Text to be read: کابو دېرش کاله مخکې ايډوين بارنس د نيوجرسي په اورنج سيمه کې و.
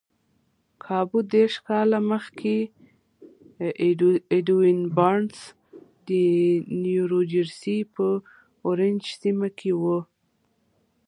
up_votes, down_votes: 2, 1